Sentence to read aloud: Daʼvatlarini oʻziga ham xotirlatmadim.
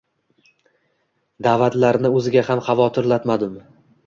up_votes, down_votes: 2, 0